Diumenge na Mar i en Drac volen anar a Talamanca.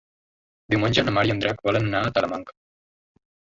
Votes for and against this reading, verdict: 0, 2, rejected